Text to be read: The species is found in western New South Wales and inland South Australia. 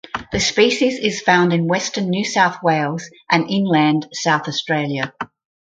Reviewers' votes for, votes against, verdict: 4, 0, accepted